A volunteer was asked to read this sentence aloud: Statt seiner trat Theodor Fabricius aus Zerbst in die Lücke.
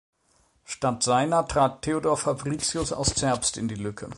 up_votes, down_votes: 2, 0